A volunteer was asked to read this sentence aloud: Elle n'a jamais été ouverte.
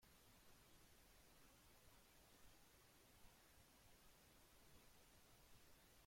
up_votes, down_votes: 0, 2